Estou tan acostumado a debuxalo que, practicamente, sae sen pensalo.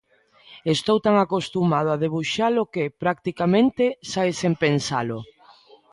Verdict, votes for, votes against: accepted, 2, 1